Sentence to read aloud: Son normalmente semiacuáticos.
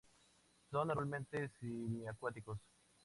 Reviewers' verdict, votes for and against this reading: accepted, 2, 0